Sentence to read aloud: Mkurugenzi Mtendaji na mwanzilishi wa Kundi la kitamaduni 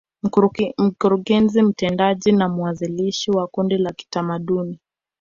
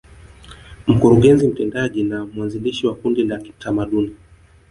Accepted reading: second